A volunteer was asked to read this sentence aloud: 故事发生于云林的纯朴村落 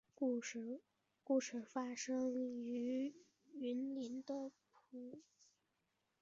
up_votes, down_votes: 1, 3